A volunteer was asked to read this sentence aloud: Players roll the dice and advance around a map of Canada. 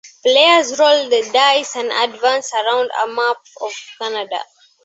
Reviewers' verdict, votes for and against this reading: accepted, 2, 0